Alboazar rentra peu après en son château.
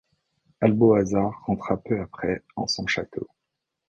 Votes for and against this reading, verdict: 2, 0, accepted